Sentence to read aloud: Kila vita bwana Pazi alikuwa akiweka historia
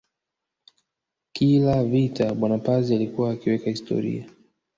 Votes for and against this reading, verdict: 1, 2, rejected